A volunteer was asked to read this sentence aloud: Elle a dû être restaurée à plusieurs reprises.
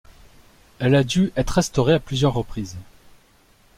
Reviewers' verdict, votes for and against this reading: accepted, 2, 0